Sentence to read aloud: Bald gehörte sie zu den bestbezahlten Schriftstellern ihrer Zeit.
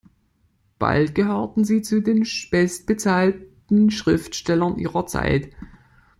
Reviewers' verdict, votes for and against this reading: rejected, 0, 2